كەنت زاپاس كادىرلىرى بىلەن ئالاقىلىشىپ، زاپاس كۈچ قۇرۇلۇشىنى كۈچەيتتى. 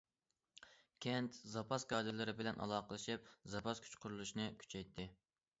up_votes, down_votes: 2, 0